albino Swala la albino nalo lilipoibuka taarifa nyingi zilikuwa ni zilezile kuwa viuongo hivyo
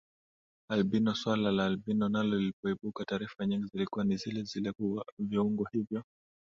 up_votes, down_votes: 2, 0